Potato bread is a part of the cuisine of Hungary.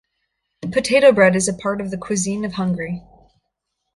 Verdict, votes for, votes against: rejected, 1, 2